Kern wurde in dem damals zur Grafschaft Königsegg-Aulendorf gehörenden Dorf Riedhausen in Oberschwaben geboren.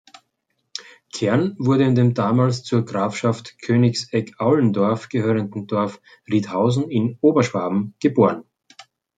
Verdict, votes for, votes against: accepted, 2, 0